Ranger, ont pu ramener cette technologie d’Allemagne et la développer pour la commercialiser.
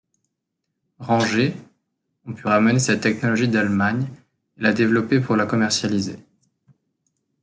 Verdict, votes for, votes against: rejected, 0, 2